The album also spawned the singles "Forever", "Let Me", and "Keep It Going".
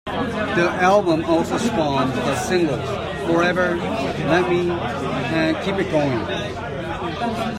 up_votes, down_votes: 2, 0